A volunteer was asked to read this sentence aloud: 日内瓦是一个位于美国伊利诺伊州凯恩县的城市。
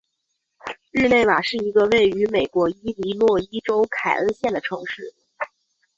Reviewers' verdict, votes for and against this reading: accepted, 2, 0